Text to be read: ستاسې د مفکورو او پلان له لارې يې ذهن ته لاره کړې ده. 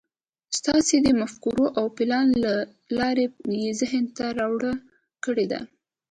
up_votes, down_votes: 0, 2